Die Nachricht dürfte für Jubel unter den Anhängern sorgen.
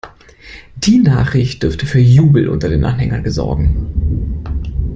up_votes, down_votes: 0, 2